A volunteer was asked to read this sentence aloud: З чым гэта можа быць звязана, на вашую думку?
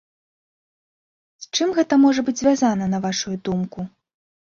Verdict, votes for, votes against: accepted, 2, 0